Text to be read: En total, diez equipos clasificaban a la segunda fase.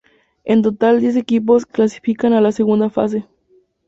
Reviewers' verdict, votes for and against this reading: accepted, 2, 0